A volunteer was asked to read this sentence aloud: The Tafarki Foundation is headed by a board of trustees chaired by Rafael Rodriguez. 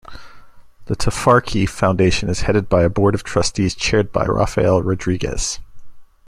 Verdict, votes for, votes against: accepted, 2, 0